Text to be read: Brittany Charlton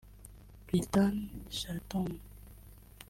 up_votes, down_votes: 0, 2